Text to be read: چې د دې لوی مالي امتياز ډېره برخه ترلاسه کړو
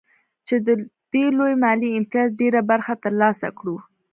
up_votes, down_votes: 2, 0